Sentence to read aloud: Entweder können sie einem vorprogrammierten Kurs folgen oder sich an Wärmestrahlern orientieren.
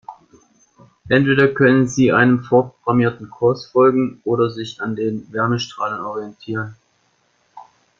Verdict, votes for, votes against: rejected, 1, 4